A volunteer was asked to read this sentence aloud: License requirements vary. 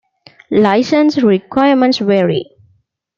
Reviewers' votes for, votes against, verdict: 2, 0, accepted